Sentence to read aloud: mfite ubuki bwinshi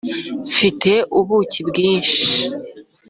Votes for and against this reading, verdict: 2, 0, accepted